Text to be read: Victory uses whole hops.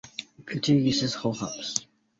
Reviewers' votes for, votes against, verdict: 0, 2, rejected